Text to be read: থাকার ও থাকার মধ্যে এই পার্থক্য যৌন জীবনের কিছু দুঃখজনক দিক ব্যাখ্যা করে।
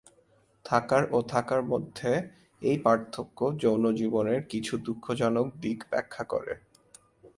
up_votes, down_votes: 2, 0